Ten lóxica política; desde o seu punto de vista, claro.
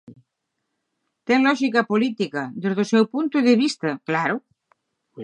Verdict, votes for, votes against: accepted, 6, 0